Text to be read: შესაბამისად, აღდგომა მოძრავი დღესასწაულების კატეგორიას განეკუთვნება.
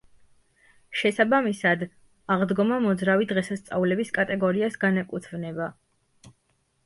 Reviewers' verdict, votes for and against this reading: accepted, 2, 0